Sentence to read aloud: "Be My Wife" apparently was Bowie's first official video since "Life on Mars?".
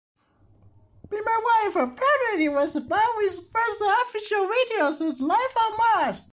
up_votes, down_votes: 1, 2